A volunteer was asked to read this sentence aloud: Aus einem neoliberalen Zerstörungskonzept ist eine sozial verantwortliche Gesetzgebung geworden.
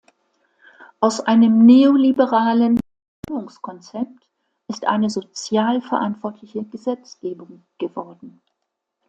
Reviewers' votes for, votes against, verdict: 1, 2, rejected